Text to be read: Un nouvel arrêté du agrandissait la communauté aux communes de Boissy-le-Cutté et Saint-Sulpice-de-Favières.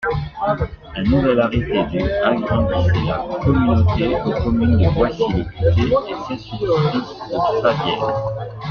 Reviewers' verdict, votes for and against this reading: rejected, 0, 2